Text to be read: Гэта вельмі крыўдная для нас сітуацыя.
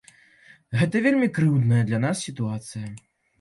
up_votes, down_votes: 2, 0